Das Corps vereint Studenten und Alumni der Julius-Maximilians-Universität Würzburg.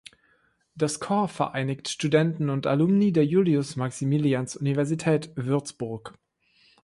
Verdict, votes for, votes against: rejected, 1, 2